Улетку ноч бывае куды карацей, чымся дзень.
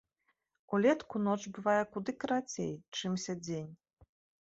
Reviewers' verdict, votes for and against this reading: accepted, 2, 0